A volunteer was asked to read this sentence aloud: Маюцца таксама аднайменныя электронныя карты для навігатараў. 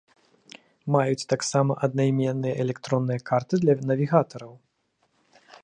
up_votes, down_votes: 1, 2